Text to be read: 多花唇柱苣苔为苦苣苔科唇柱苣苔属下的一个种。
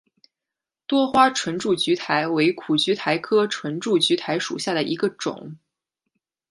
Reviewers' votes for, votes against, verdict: 2, 1, accepted